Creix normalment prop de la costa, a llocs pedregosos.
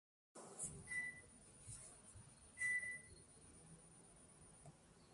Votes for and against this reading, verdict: 0, 2, rejected